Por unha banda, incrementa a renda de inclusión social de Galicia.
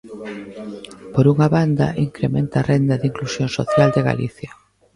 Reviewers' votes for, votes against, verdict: 1, 2, rejected